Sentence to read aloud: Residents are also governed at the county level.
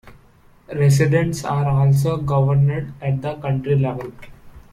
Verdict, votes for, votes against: accepted, 2, 0